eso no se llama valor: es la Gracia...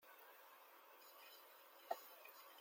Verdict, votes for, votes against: rejected, 0, 2